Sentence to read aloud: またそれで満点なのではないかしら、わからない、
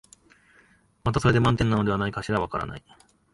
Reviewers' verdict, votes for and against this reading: accepted, 2, 0